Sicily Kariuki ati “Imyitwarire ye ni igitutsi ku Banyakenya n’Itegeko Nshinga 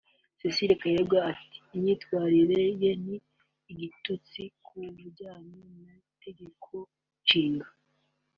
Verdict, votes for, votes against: rejected, 0, 2